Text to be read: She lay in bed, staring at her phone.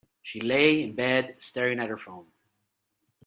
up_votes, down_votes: 2, 0